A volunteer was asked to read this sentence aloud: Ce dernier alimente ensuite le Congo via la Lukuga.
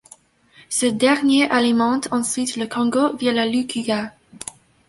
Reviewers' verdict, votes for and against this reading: accepted, 2, 0